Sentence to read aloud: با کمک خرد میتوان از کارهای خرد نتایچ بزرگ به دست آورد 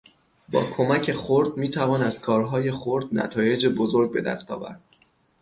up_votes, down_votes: 3, 3